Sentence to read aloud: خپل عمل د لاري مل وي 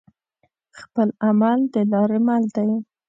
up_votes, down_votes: 2, 1